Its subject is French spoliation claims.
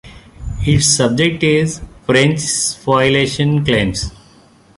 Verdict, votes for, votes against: rejected, 1, 2